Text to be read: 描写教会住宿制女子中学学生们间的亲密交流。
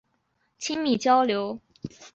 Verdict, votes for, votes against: rejected, 0, 2